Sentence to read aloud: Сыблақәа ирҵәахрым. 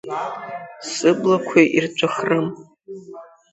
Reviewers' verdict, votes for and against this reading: accepted, 2, 0